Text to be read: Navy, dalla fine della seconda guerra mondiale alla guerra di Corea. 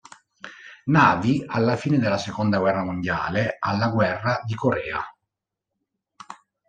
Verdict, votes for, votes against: rejected, 1, 2